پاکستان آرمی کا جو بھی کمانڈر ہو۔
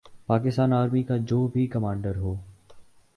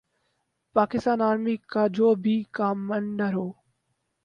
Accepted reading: first